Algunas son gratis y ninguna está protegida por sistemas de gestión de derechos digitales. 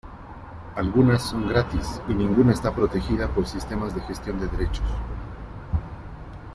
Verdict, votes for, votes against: rejected, 1, 2